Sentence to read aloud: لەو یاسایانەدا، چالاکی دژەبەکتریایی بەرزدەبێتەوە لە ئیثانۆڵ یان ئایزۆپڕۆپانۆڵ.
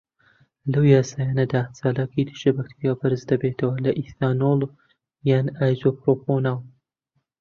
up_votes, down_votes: 0, 2